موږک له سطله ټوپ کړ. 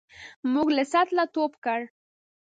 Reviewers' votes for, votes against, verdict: 0, 2, rejected